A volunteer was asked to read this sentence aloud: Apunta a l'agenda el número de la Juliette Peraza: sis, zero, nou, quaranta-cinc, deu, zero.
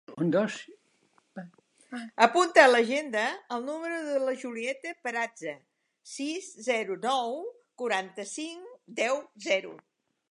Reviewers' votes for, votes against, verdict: 0, 2, rejected